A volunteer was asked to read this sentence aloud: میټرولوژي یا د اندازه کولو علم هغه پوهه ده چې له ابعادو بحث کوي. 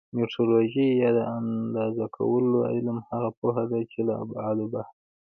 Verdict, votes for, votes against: accepted, 2, 1